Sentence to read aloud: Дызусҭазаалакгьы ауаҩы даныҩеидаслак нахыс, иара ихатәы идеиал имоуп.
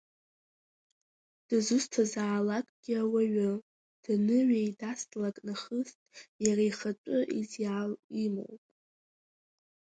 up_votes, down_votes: 2, 0